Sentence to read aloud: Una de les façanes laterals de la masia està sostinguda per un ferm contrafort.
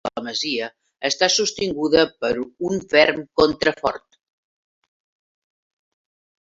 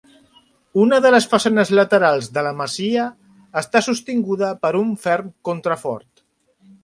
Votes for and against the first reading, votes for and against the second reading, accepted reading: 0, 2, 3, 0, second